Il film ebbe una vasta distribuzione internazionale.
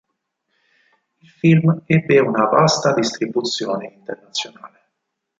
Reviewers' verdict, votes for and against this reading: rejected, 2, 4